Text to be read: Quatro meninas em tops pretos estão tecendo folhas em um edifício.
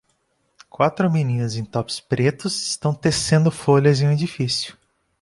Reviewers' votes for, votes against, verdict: 2, 0, accepted